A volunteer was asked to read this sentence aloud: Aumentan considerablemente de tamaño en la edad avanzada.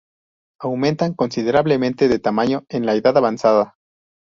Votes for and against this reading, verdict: 2, 0, accepted